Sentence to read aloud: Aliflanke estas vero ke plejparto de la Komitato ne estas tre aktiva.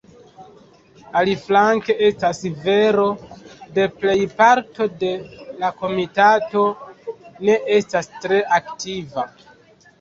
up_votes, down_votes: 1, 2